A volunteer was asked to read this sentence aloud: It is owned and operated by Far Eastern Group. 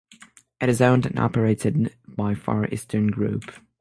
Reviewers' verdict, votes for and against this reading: accepted, 6, 0